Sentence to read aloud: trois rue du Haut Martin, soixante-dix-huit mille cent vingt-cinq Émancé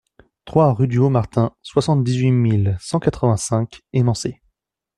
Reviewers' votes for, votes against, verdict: 0, 2, rejected